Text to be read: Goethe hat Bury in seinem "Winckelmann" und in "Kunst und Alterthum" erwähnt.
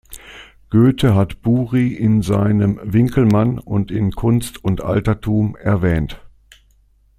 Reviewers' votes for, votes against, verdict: 2, 0, accepted